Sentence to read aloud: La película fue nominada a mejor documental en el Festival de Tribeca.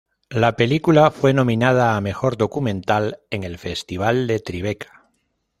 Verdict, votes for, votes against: accepted, 2, 0